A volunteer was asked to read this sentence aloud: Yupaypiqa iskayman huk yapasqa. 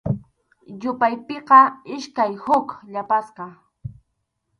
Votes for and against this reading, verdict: 0, 2, rejected